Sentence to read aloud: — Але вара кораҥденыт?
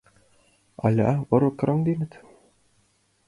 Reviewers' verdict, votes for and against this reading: rejected, 1, 5